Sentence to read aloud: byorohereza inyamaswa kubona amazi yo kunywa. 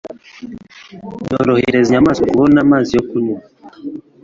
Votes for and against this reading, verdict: 2, 0, accepted